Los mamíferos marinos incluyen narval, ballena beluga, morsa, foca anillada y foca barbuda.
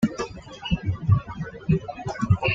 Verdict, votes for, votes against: rejected, 1, 2